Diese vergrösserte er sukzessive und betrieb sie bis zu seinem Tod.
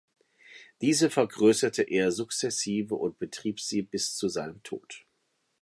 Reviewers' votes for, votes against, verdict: 2, 0, accepted